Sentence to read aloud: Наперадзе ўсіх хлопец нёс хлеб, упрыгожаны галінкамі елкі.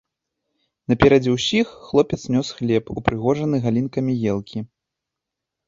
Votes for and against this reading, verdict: 2, 0, accepted